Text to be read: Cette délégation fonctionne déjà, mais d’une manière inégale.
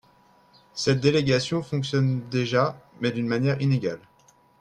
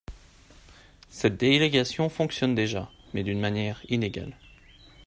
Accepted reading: first